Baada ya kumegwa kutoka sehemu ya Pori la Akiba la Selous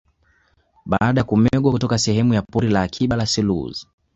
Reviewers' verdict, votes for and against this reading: rejected, 0, 2